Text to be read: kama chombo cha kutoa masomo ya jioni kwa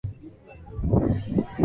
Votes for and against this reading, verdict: 0, 2, rejected